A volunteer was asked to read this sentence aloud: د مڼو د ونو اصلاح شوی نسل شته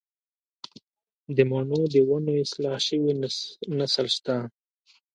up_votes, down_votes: 0, 3